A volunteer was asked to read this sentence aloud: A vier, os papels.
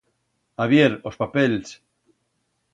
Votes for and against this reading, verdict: 2, 0, accepted